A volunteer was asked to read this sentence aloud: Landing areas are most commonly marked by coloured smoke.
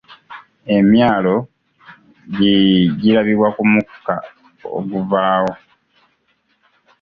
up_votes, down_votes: 0, 2